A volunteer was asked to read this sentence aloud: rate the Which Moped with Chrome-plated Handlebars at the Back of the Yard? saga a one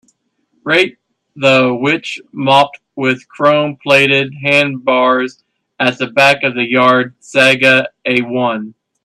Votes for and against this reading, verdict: 0, 5, rejected